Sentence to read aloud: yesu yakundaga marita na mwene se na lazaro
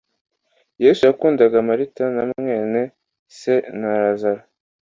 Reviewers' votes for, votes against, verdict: 2, 0, accepted